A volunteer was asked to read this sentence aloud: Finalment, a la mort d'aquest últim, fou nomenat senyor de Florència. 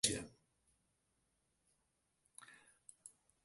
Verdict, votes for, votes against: rejected, 0, 2